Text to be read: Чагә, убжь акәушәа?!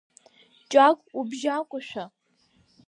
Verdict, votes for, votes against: rejected, 2, 4